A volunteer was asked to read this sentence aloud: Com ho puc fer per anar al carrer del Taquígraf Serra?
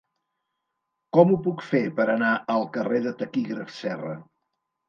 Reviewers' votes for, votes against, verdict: 3, 2, accepted